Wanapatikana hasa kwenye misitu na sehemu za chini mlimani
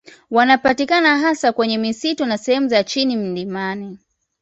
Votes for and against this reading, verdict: 1, 2, rejected